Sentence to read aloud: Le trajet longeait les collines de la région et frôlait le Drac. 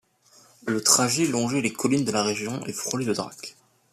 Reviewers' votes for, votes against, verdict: 2, 0, accepted